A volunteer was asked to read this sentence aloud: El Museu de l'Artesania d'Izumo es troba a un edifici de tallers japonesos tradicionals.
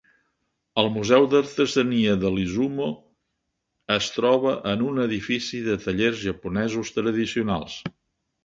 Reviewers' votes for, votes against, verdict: 0, 4, rejected